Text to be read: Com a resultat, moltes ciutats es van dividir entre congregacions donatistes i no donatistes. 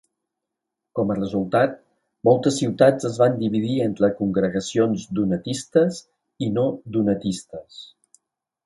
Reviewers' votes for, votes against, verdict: 2, 0, accepted